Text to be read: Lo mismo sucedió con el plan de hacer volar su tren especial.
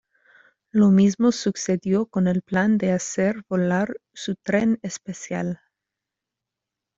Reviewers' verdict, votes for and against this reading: accepted, 2, 0